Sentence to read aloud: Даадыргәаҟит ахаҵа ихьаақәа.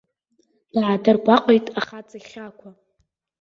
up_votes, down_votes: 1, 2